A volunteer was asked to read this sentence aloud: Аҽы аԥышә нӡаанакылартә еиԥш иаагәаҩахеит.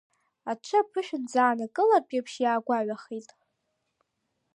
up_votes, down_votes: 2, 0